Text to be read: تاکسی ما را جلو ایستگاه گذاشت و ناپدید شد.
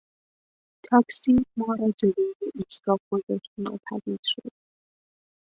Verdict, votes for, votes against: rejected, 0, 2